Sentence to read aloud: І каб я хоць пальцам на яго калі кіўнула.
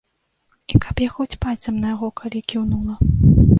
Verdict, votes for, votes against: accepted, 2, 0